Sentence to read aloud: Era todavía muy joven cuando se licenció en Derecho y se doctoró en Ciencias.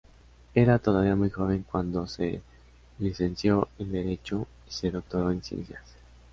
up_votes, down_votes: 5, 1